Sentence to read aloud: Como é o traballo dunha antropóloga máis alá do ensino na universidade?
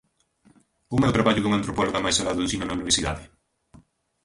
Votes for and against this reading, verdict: 1, 2, rejected